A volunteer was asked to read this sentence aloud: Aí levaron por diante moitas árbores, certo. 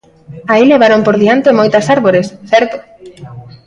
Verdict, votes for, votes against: accepted, 2, 0